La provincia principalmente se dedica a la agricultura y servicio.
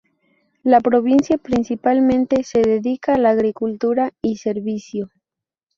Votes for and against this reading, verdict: 2, 0, accepted